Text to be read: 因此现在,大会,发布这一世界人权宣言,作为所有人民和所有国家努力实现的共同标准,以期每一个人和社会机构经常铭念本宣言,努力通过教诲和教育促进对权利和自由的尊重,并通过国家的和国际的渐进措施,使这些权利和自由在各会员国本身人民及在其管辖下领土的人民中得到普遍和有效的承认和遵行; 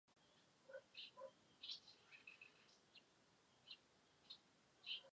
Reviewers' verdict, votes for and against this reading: rejected, 0, 4